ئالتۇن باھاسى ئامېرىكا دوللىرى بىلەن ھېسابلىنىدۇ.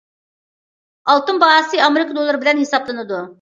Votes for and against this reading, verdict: 2, 0, accepted